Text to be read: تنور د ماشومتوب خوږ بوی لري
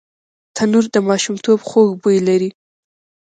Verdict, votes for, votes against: rejected, 1, 2